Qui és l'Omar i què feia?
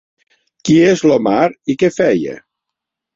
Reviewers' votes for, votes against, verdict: 3, 0, accepted